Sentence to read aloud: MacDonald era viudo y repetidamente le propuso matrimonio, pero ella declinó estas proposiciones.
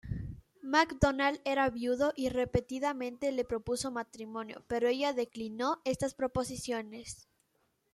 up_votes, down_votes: 2, 0